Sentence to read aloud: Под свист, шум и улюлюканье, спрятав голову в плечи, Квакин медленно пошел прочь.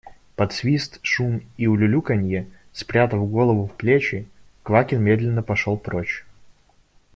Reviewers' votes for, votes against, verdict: 2, 0, accepted